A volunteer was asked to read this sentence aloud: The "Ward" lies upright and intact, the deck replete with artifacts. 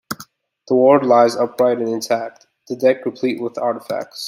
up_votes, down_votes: 2, 0